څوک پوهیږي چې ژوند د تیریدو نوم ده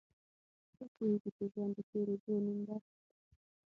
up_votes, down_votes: 0, 6